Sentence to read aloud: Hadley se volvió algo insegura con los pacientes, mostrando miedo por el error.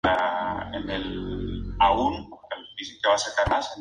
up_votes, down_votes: 0, 2